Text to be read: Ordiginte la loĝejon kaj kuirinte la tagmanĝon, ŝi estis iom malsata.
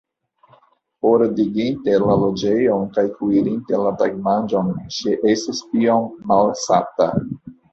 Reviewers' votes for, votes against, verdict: 2, 1, accepted